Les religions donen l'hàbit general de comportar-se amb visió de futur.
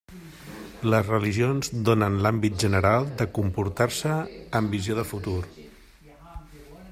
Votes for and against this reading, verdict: 1, 2, rejected